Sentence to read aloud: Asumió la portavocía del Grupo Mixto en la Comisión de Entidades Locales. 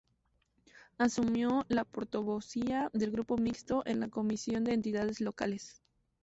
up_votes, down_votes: 0, 2